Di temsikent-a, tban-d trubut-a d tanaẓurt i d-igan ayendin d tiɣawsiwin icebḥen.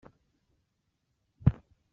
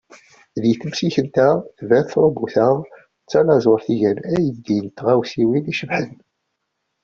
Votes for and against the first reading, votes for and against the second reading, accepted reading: 0, 2, 2, 0, second